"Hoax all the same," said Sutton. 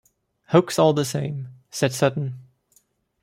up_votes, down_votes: 2, 0